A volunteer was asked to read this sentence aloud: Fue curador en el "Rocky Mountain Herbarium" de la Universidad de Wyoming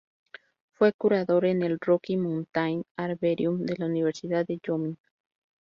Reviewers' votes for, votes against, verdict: 2, 4, rejected